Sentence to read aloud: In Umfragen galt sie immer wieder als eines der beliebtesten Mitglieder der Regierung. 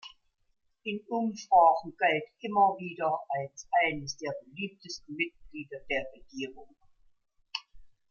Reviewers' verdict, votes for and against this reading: rejected, 1, 2